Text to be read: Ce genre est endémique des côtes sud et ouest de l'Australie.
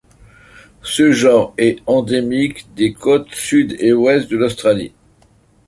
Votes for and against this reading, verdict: 2, 0, accepted